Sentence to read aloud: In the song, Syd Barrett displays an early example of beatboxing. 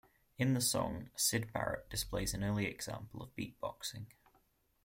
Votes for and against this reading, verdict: 2, 0, accepted